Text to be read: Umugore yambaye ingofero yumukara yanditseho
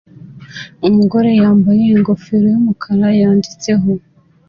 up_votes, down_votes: 2, 0